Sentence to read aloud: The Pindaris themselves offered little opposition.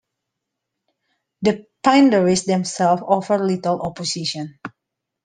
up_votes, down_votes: 2, 1